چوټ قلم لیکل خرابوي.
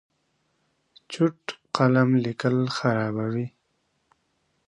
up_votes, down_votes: 5, 0